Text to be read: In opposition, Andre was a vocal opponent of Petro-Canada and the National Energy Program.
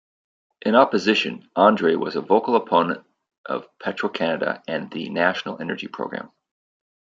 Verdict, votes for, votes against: accepted, 2, 0